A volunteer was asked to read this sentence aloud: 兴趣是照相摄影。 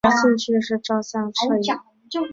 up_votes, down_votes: 3, 1